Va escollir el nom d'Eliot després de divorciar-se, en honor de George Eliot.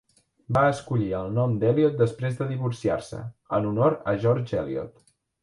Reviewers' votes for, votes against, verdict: 1, 2, rejected